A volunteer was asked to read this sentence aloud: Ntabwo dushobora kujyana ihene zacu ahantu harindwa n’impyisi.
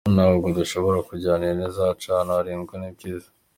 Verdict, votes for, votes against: accepted, 2, 0